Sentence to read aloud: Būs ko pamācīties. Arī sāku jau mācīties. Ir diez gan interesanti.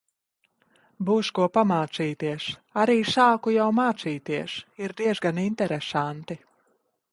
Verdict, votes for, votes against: rejected, 1, 2